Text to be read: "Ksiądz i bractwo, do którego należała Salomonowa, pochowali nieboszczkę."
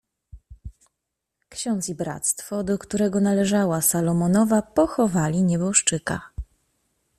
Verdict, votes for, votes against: rejected, 1, 2